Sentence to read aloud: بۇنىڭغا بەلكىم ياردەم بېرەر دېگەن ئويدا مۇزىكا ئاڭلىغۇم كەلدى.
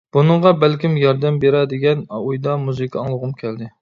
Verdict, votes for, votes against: rejected, 0, 2